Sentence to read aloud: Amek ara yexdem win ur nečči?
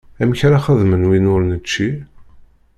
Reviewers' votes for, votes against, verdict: 0, 2, rejected